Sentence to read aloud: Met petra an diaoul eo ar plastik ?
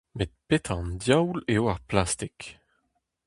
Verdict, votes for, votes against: rejected, 0, 2